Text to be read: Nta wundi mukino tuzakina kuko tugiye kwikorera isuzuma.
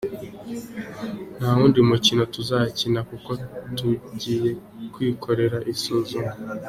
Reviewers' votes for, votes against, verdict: 2, 0, accepted